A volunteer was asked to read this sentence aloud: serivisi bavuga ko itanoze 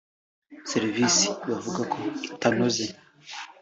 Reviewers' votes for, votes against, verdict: 2, 0, accepted